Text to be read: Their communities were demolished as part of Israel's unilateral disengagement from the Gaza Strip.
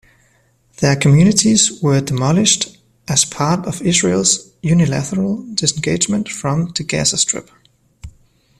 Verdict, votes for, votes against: accepted, 2, 0